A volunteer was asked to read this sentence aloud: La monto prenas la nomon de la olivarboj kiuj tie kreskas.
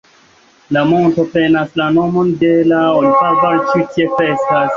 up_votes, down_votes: 1, 2